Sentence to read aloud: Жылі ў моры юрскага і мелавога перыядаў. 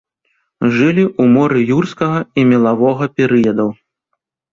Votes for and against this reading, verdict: 2, 0, accepted